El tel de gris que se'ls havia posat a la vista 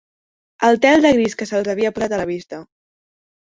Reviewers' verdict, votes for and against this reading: rejected, 1, 2